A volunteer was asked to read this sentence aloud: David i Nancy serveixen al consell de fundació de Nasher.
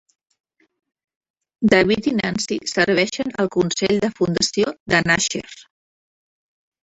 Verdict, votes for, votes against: rejected, 1, 2